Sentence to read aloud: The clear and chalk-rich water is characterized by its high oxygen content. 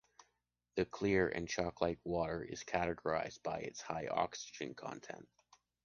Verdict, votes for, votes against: rejected, 0, 2